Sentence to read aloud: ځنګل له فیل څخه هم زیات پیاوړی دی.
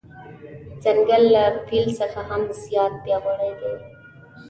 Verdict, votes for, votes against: accepted, 2, 0